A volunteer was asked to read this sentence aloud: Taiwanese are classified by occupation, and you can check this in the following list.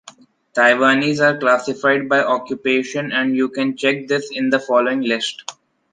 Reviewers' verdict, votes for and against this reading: accepted, 3, 0